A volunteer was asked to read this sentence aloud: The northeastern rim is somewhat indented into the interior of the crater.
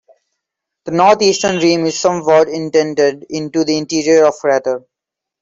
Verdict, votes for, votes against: accepted, 2, 1